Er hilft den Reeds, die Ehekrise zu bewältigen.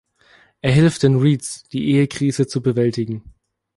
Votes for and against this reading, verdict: 2, 0, accepted